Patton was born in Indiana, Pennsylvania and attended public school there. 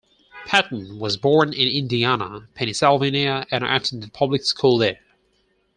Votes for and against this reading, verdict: 4, 0, accepted